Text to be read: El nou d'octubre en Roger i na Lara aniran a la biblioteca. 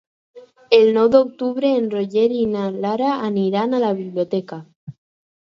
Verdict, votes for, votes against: accepted, 4, 0